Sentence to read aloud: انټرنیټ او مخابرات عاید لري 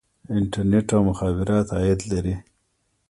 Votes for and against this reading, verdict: 2, 0, accepted